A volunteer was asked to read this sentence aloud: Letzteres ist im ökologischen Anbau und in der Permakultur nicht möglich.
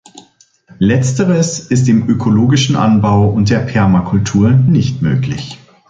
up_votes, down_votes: 1, 2